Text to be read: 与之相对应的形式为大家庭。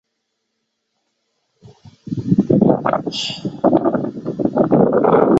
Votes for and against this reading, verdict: 2, 4, rejected